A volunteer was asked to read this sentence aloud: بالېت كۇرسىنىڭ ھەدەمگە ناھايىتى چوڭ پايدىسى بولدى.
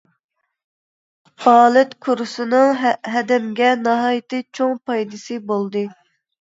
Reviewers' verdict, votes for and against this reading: rejected, 0, 2